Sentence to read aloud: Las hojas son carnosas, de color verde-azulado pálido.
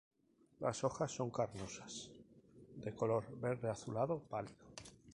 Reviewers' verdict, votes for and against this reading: rejected, 0, 2